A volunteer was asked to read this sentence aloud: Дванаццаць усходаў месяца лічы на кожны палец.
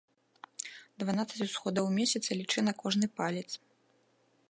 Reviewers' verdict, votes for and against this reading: accepted, 2, 0